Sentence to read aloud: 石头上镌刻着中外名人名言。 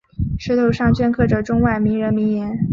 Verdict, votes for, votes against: accepted, 3, 0